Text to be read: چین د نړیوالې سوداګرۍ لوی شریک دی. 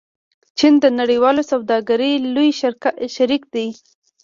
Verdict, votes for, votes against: rejected, 0, 2